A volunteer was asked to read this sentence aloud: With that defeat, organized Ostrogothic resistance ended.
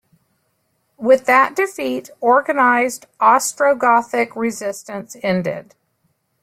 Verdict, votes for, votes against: accepted, 2, 0